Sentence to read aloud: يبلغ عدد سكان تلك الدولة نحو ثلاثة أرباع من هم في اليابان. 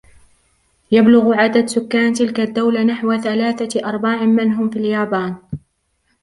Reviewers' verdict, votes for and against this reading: rejected, 1, 2